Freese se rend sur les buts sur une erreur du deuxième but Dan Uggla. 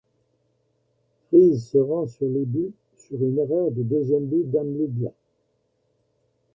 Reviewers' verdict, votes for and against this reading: accepted, 2, 0